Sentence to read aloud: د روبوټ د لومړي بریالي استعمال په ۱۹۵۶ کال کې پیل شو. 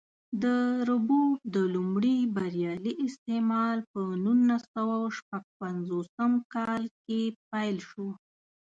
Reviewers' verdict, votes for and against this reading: rejected, 0, 2